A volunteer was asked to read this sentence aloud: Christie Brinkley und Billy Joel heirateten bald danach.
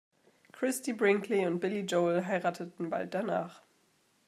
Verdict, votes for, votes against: accepted, 2, 0